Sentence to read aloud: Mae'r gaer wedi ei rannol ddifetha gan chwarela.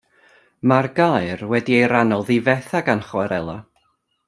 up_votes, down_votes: 2, 0